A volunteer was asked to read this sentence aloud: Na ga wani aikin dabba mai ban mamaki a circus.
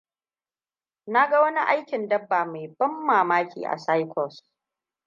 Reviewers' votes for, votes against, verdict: 2, 0, accepted